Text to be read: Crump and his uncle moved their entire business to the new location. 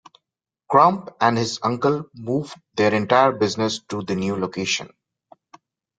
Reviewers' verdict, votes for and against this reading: accepted, 2, 0